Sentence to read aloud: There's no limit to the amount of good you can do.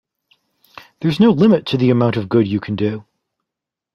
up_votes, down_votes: 2, 0